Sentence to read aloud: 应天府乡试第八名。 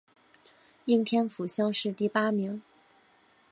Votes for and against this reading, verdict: 6, 0, accepted